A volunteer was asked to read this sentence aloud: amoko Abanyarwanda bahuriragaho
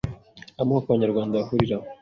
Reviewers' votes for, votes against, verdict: 1, 2, rejected